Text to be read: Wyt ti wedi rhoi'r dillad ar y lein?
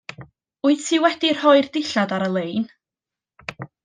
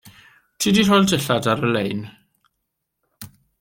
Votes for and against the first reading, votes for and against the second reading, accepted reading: 2, 0, 0, 2, first